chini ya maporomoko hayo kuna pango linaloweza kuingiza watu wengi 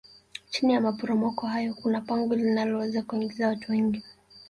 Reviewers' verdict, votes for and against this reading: rejected, 1, 2